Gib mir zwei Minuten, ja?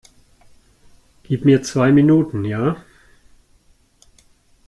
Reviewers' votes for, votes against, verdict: 2, 0, accepted